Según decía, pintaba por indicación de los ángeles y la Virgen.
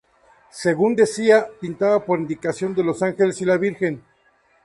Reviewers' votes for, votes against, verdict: 2, 0, accepted